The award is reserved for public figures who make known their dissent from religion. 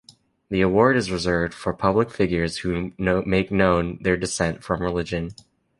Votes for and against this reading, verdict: 0, 2, rejected